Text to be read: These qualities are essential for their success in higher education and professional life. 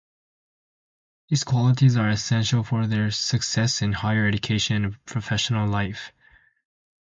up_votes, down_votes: 2, 0